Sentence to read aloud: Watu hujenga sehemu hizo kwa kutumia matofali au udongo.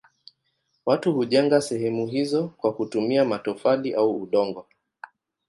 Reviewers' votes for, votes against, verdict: 2, 0, accepted